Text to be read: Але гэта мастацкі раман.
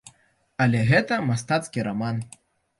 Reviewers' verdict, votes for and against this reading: accepted, 2, 0